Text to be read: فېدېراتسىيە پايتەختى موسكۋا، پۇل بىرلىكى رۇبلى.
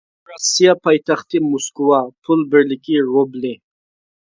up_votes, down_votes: 0, 2